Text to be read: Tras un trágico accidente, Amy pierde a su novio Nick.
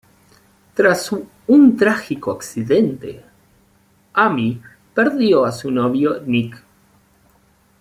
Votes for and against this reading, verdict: 1, 2, rejected